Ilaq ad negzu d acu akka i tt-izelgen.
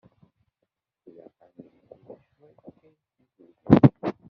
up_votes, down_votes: 0, 2